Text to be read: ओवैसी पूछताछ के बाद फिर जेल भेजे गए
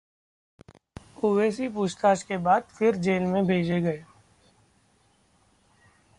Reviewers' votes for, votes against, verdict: 1, 2, rejected